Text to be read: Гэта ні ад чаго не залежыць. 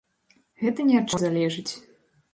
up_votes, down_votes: 0, 2